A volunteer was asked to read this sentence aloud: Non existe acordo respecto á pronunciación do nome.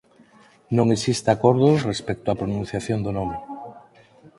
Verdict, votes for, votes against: accepted, 4, 2